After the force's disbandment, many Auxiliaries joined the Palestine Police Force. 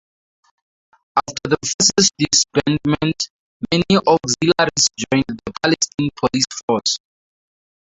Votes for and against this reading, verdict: 2, 4, rejected